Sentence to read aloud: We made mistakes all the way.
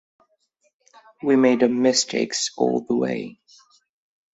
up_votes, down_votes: 0, 2